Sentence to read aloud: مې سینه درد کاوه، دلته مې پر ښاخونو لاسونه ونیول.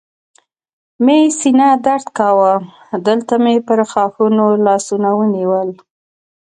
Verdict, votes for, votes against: accepted, 2, 0